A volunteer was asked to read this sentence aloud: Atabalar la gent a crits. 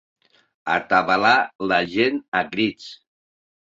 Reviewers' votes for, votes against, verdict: 2, 0, accepted